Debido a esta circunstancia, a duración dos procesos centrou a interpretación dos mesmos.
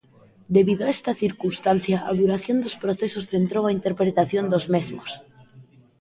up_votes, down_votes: 0, 2